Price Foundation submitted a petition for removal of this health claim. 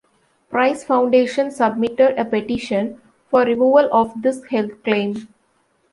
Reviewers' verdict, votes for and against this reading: accepted, 2, 0